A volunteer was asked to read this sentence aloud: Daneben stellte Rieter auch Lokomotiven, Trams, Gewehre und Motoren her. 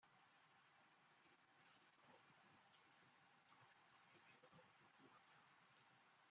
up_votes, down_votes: 0, 2